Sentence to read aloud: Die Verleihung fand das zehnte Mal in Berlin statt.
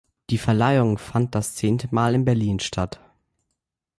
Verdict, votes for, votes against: accepted, 2, 0